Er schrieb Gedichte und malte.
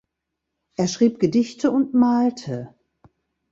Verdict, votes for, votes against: accepted, 2, 0